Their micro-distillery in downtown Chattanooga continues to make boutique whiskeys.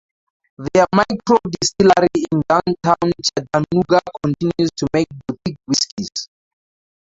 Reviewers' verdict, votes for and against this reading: rejected, 0, 2